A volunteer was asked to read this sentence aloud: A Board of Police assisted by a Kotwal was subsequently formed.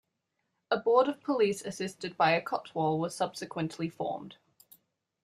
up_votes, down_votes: 2, 0